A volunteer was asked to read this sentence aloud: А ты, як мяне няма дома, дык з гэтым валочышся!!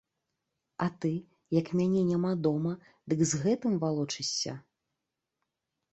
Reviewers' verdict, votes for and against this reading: rejected, 0, 2